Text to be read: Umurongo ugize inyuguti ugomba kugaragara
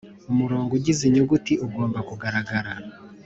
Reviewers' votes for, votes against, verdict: 3, 0, accepted